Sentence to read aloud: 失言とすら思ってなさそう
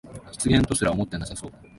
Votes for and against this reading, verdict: 1, 2, rejected